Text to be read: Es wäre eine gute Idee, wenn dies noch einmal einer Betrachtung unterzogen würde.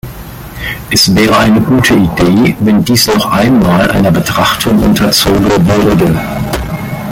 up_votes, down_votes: 0, 2